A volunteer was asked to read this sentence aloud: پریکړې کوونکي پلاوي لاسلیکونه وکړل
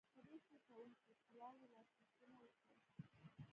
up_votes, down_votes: 0, 2